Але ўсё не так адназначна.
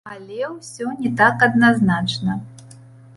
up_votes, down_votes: 2, 0